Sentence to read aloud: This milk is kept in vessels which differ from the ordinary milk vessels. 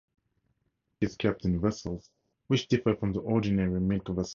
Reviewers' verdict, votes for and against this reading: rejected, 0, 2